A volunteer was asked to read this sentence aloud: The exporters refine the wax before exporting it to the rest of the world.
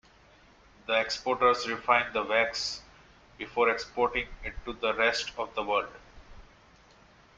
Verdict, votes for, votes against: rejected, 0, 2